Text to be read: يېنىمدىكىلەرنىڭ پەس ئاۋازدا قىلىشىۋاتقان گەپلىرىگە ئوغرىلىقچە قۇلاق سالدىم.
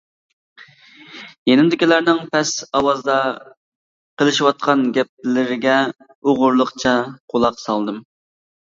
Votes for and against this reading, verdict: 2, 0, accepted